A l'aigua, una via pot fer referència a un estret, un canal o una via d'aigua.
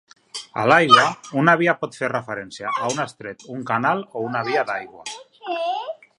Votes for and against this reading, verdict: 1, 2, rejected